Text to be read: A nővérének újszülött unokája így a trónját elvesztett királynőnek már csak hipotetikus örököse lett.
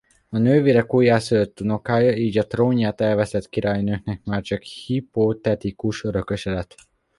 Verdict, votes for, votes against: rejected, 0, 2